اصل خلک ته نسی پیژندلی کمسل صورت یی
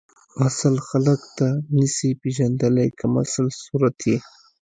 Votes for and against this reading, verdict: 2, 0, accepted